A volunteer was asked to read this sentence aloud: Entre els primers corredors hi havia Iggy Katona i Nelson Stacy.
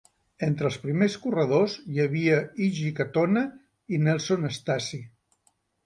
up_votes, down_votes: 2, 0